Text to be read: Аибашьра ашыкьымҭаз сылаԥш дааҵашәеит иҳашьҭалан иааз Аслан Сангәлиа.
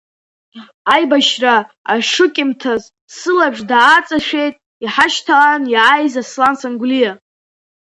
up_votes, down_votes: 2, 0